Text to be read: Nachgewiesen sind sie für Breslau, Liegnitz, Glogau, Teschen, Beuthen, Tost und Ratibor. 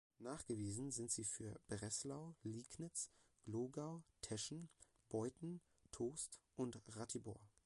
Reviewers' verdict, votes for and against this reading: accepted, 2, 0